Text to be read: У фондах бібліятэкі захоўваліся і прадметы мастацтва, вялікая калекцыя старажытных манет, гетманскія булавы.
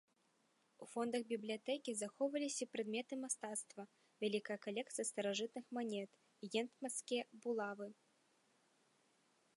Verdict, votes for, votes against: accepted, 2, 0